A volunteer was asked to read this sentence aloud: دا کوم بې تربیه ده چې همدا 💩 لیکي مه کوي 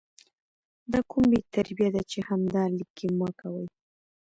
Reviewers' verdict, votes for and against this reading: accepted, 3, 2